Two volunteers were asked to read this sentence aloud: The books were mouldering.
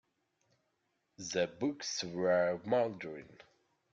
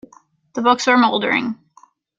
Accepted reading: second